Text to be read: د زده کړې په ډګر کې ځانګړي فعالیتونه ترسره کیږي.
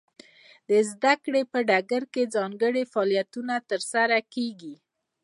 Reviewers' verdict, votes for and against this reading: accepted, 2, 0